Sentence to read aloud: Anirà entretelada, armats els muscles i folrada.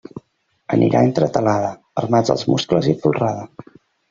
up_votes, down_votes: 2, 0